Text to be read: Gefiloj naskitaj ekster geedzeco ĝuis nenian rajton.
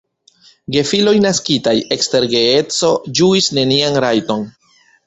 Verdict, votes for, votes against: rejected, 1, 2